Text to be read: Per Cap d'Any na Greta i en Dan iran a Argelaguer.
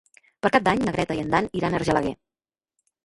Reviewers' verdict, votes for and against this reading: rejected, 1, 2